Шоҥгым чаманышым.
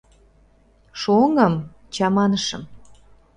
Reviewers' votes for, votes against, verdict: 0, 2, rejected